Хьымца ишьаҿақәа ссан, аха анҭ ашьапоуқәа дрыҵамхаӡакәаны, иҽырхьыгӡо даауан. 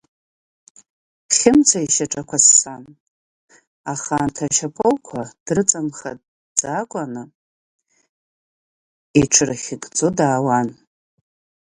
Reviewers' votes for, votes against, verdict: 2, 3, rejected